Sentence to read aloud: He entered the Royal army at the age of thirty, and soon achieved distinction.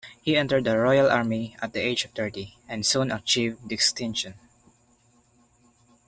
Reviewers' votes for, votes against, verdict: 1, 2, rejected